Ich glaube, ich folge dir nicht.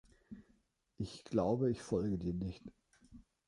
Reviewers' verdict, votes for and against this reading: accepted, 3, 0